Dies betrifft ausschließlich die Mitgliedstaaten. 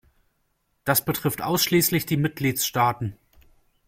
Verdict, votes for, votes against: rejected, 0, 2